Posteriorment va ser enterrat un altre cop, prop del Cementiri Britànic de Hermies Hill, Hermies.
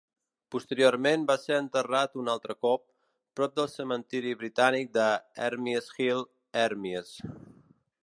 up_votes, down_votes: 2, 0